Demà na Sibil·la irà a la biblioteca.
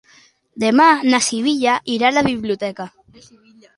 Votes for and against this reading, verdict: 0, 2, rejected